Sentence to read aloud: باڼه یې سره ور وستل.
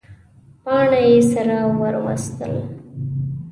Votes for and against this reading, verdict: 2, 1, accepted